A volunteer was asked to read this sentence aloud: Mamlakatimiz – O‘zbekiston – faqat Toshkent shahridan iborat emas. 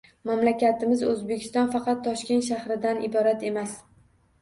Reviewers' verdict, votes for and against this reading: accepted, 2, 0